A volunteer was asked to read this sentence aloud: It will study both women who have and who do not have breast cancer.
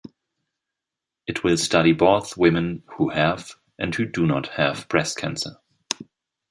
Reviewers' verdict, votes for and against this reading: accepted, 2, 0